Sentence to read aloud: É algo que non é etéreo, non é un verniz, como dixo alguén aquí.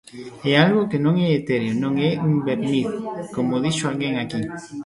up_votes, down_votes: 0, 2